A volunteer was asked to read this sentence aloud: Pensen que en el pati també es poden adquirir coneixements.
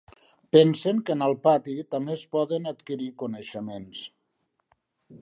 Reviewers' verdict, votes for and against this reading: accepted, 2, 0